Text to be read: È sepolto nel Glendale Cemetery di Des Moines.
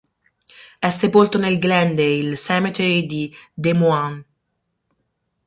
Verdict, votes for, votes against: accepted, 6, 0